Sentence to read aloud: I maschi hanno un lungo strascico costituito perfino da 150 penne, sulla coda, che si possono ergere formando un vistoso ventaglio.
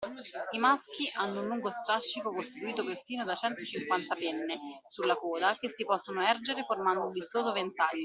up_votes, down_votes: 0, 2